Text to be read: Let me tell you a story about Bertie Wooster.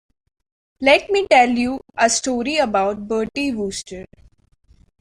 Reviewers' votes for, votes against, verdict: 2, 0, accepted